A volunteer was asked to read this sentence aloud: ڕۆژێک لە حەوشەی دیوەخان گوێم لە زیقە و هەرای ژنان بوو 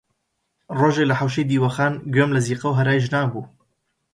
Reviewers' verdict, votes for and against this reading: accepted, 2, 0